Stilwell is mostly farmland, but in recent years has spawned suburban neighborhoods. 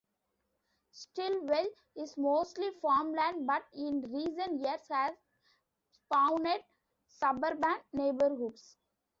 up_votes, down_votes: 1, 2